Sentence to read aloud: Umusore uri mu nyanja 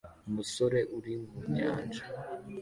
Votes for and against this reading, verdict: 2, 0, accepted